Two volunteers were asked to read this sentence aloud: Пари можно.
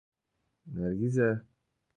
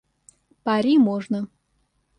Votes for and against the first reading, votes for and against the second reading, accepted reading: 0, 2, 2, 0, second